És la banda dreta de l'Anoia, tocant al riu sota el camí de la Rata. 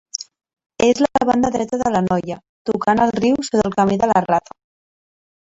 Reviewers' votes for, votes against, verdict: 0, 2, rejected